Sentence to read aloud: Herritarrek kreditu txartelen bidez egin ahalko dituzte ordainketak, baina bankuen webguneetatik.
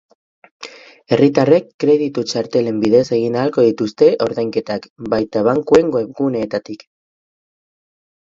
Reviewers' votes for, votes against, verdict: 4, 0, accepted